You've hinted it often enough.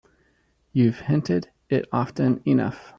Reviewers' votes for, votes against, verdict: 2, 0, accepted